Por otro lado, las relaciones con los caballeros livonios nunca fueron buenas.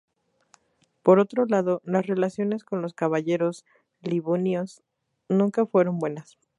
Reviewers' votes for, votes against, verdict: 2, 0, accepted